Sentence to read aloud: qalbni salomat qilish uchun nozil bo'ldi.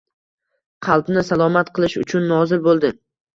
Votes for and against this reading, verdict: 1, 2, rejected